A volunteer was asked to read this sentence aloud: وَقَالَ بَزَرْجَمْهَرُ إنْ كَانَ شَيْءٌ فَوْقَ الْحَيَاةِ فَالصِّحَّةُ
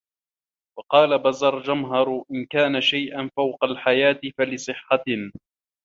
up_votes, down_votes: 0, 2